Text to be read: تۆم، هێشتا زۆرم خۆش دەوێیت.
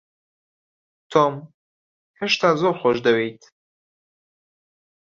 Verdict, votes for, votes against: rejected, 1, 2